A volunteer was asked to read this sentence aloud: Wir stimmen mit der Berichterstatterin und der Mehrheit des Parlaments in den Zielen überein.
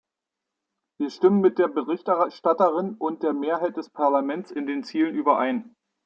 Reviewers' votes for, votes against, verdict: 0, 2, rejected